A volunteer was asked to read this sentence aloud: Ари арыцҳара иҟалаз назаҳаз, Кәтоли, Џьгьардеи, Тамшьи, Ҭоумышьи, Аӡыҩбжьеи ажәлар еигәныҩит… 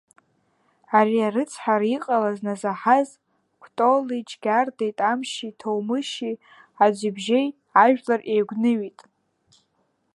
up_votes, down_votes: 1, 2